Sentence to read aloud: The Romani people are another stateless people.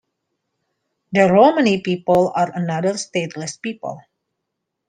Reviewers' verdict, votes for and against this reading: accepted, 2, 0